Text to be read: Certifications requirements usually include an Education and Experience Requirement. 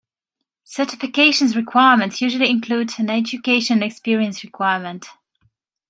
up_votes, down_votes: 0, 2